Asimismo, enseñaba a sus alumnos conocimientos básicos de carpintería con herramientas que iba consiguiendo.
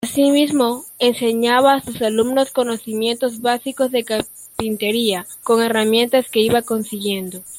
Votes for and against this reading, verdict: 0, 2, rejected